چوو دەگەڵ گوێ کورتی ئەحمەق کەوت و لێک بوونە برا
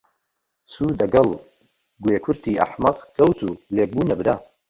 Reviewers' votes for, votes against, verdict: 2, 0, accepted